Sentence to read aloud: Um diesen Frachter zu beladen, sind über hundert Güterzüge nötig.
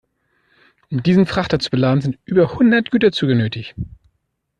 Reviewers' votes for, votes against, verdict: 2, 0, accepted